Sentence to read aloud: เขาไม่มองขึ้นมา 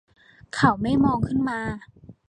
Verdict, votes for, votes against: accepted, 2, 0